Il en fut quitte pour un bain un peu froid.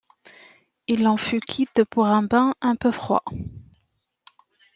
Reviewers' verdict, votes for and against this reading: accepted, 2, 0